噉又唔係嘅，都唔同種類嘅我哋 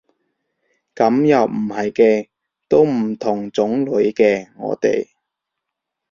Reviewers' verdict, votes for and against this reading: accepted, 3, 0